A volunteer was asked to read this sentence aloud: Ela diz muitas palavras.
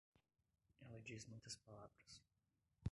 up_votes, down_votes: 0, 2